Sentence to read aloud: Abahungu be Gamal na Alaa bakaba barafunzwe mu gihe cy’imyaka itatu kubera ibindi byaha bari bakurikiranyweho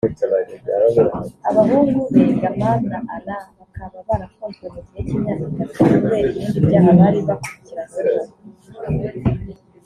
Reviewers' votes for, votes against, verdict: 1, 2, rejected